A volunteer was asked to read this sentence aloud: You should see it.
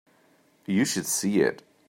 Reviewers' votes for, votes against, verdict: 3, 0, accepted